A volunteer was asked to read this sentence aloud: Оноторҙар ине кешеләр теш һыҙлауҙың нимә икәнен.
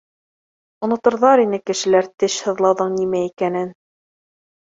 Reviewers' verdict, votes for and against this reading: accepted, 2, 1